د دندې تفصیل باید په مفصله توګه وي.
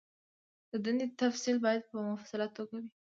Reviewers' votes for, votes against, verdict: 2, 0, accepted